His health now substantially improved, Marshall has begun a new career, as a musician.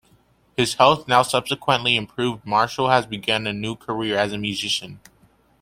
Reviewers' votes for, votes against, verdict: 0, 2, rejected